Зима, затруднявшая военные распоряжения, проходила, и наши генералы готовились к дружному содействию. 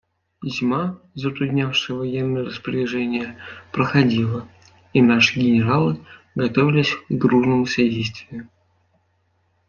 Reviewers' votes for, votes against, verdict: 2, 0, accepted